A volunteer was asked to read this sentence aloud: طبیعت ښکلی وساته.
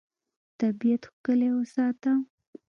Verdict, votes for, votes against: rejected, 1, 2